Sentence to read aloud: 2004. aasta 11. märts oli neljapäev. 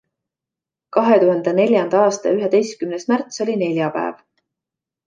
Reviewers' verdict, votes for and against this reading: rejected, 0, 2